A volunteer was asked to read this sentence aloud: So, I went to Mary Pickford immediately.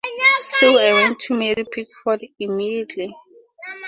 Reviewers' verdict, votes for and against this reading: accepted, 2, 0